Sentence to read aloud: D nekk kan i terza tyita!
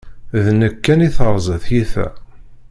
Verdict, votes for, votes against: rejected, 0, 2